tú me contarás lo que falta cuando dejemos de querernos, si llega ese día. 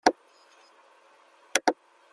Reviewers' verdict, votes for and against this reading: rejected, 0, 2